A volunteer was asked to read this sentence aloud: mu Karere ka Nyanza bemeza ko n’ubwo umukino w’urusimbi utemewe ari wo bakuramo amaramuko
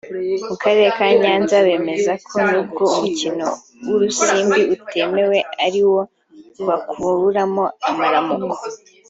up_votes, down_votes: 2, 1